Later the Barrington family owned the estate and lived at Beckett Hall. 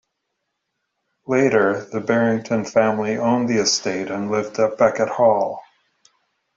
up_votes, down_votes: 2, 0